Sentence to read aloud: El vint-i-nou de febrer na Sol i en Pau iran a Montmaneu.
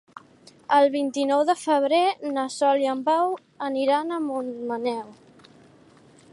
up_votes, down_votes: 0, 2